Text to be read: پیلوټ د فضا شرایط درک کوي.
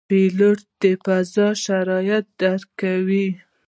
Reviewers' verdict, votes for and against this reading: rejected, 0, 2